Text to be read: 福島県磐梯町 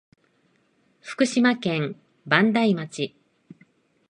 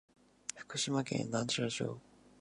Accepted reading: first